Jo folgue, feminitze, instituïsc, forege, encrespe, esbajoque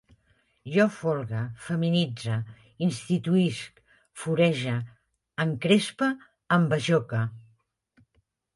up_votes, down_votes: 2, 1